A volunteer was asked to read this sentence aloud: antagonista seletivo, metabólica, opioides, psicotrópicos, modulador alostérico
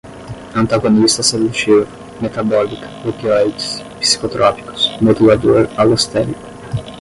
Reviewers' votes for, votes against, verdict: 5, 5, rejected